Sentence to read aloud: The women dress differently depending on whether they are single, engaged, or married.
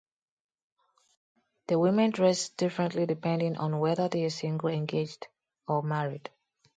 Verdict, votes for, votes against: accepted, 2, 0